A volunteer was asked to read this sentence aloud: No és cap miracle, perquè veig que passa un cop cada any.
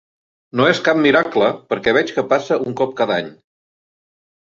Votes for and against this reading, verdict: 5, 0, accepted